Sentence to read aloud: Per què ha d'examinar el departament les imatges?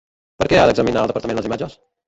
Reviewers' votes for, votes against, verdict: 1, 2, rejected